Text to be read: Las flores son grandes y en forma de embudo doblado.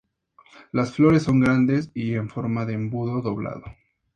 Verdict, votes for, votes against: accepted, 2, 0